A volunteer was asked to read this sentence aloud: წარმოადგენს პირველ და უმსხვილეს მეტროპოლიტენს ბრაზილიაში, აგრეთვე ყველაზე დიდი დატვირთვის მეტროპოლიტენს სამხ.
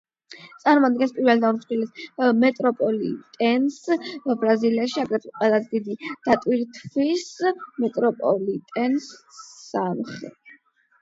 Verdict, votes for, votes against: accepted, 8, 0